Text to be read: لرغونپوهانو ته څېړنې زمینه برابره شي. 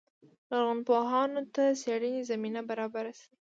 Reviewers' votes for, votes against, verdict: 0, 2, rejected